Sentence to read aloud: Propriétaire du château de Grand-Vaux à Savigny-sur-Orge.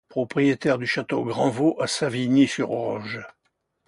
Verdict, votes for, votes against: rejected, 0, 2